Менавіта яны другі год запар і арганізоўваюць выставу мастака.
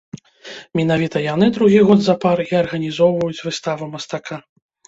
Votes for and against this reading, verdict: 1, 2, rejected